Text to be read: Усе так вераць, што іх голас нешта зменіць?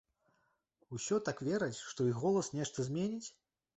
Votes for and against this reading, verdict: 0, 2, rejected